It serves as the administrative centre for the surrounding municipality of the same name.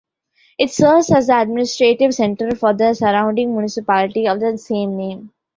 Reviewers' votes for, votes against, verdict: 2, 0, accepted